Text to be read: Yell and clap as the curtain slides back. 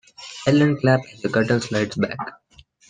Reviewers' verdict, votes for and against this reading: rejected, 0, 2